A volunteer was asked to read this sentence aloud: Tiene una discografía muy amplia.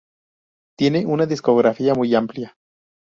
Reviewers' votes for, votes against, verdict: 2, 0, accepted